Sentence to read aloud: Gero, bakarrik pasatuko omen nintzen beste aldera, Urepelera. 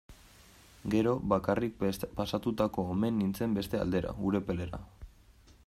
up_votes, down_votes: 1, 2